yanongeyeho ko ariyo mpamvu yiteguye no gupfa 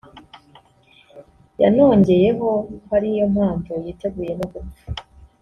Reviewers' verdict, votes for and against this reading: rejected, 1, 2